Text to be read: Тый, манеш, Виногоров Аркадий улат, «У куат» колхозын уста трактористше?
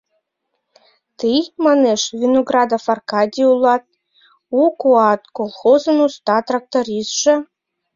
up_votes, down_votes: 0, 2